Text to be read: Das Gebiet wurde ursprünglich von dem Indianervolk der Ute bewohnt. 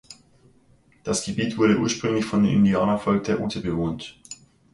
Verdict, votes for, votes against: rejected, 1, 2